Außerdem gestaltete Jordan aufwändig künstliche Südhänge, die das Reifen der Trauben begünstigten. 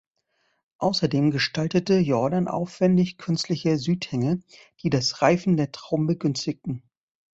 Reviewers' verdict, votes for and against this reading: accepted, 2, 0